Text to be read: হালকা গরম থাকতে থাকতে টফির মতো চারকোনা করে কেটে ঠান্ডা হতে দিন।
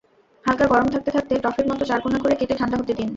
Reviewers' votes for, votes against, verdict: 0, 2, rejected